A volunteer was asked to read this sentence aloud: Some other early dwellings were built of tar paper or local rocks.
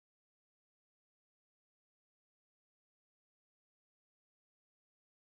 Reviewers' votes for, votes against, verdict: 0, 3, rejected